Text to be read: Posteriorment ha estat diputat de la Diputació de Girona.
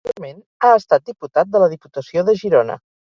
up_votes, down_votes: 2, 4